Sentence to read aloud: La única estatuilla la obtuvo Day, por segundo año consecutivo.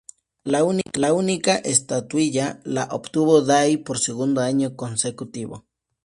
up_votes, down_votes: 2, 0